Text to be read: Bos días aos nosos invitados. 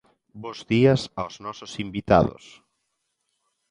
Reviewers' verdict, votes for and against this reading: accepted, 2, 0